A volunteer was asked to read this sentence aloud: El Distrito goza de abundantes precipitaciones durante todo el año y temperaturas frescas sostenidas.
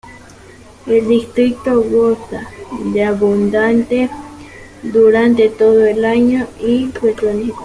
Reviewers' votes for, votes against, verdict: 0, 2, rejected